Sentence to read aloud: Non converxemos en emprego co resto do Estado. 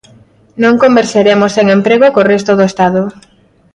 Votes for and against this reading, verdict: 0, 2, rejected